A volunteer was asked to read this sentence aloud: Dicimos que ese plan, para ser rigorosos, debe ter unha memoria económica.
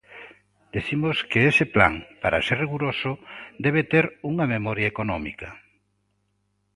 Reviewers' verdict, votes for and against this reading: rejected, 0, 2